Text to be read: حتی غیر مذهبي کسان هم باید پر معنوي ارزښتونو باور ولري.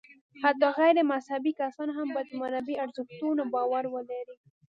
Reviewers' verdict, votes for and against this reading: accepted, 2, 0